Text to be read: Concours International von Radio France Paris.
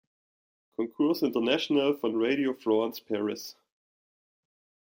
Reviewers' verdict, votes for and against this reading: accepted, 2, 1